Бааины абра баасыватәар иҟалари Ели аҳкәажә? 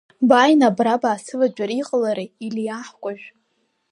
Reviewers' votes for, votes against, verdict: 2, 1, accepted